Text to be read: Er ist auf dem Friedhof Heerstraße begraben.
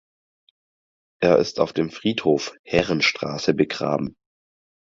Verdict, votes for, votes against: rejected, 0, 4